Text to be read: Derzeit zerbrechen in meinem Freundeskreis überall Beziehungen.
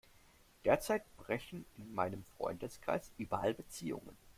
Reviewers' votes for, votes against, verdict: 0, 2, rejected